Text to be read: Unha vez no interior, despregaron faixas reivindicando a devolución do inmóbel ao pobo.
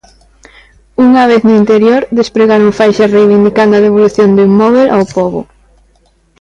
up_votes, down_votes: 2, 0